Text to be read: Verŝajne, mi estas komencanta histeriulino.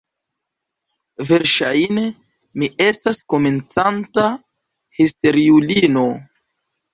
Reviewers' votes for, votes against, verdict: 2, 1, accepted